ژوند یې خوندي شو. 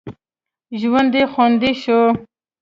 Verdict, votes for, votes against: accepted, 2, 0